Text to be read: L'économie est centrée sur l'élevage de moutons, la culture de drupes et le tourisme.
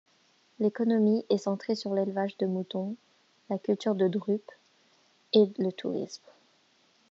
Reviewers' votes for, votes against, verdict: 2, 0, accepted